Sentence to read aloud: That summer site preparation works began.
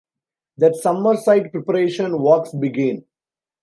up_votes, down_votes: 1, 2